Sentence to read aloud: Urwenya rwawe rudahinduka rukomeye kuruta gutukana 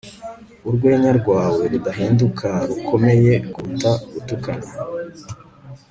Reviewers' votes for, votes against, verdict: 4, 0, accepted